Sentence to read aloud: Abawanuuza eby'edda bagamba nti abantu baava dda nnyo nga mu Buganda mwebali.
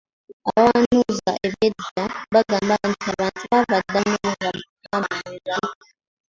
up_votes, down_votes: 0, 2